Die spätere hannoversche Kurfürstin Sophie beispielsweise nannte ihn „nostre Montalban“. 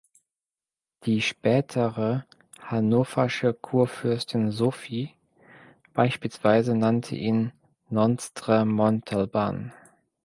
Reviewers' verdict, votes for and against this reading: rejected, 1, 2